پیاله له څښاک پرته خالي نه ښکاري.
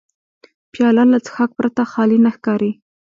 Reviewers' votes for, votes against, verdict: 2, 1, accepted